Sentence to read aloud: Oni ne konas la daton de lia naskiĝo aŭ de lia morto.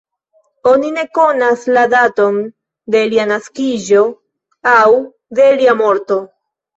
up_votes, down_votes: 1, 2